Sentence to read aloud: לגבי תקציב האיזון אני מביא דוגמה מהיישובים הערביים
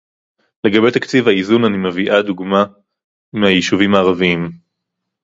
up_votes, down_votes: 0, 4